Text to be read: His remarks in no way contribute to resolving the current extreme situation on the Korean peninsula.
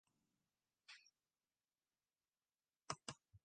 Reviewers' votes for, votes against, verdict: 0, 2, rejected